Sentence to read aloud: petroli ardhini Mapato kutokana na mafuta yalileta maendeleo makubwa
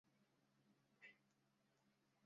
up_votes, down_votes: 0, 2